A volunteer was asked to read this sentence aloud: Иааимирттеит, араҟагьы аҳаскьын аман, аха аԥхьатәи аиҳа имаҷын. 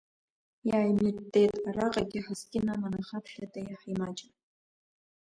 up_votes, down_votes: 1, 2